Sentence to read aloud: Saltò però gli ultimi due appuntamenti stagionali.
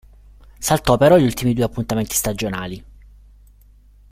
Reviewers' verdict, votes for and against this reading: accepted, 2, 0